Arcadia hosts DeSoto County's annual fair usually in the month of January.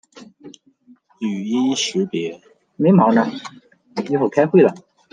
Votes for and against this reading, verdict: 0, 2, rejected